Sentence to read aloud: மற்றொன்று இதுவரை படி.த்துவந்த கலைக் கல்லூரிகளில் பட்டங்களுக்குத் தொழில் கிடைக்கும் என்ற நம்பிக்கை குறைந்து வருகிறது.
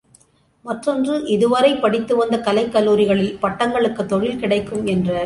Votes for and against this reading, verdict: 0, 2, rejected